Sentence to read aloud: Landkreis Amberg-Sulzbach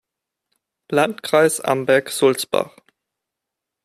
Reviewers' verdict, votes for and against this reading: accepted, 2, 0